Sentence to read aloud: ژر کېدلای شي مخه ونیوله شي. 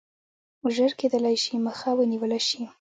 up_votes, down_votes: 2, 0